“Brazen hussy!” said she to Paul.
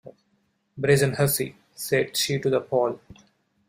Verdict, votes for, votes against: rejected, 0, 2